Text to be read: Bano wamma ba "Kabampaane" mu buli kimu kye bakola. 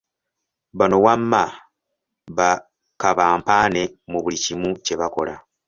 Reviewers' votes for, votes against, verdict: 2, 0, accepted